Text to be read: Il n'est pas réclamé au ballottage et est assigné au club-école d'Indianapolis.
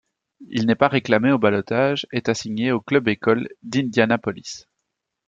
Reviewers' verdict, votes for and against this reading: rejected, 1, 2